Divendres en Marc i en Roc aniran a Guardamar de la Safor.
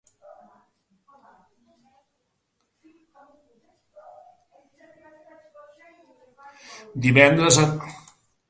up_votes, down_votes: 0, 3